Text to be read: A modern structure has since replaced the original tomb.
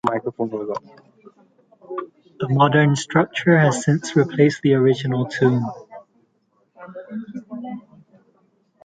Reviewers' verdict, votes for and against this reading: rejected, 1, 2